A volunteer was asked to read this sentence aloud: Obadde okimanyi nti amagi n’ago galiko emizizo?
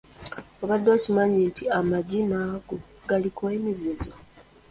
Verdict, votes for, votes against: accepted, 2, 1